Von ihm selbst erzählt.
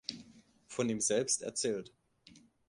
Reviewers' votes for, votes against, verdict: 2, 0, accepted